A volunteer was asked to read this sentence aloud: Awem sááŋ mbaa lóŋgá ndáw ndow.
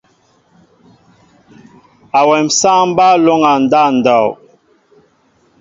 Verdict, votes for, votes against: accepted, 2, 0